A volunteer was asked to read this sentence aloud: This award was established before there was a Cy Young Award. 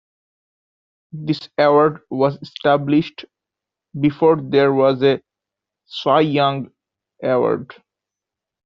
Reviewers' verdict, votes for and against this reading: accepted, 2, 0